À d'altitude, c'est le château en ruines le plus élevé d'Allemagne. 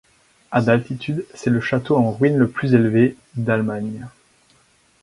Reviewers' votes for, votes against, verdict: 4, 0, accepted